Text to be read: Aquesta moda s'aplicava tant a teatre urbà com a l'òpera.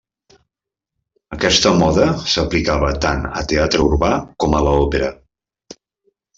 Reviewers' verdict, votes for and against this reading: accepted, 3, 0